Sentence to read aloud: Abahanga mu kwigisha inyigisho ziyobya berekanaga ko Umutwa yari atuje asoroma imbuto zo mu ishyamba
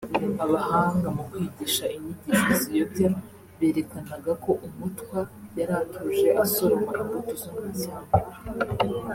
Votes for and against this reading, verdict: 0, 2, rejected